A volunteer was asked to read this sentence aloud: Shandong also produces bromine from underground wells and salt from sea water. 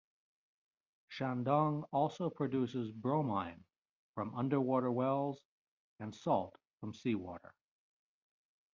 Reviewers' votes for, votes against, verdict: 1, 2, rejected